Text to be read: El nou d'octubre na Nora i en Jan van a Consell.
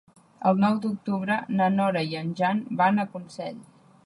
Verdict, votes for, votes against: accepted, 3, 0